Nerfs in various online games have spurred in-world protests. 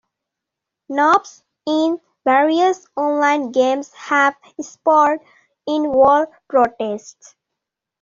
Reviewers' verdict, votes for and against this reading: rejected, 0, 2